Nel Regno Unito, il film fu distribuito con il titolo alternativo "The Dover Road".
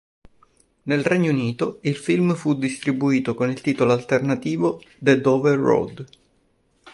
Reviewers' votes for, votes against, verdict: 2, 0, accepted